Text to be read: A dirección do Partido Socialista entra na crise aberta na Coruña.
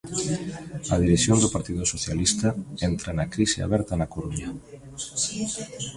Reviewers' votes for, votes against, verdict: 2, 0, accepted